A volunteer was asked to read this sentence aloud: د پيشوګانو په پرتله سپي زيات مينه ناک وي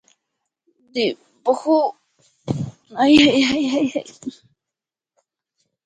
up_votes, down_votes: 1, 2